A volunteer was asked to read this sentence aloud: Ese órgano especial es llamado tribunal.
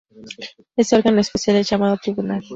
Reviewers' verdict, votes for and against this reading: accepted, 2, 0